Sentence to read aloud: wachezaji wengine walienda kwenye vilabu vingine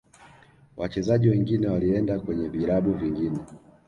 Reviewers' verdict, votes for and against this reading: accepted, 2, 0